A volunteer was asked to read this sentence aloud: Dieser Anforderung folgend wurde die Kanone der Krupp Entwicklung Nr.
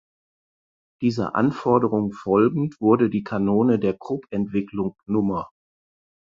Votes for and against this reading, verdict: 4, 0, accepted